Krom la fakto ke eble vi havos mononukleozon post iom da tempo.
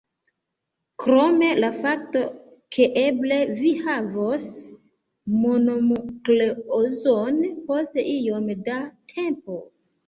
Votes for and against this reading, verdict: 0, 2, rejected